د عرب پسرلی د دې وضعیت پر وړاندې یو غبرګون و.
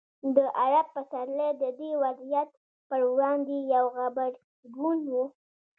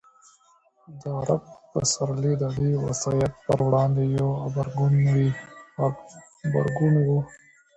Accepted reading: first